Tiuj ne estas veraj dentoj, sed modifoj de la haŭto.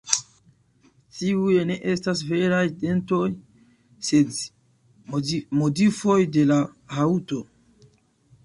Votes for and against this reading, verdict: 1, 2, rejected